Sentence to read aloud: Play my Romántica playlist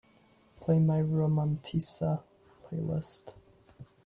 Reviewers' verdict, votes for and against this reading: accepted, 2, 0